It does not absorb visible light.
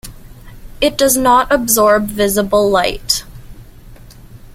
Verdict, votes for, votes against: accepted, 2, 0